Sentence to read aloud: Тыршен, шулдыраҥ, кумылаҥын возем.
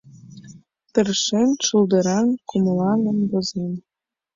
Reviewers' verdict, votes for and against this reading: accepted, 2, 0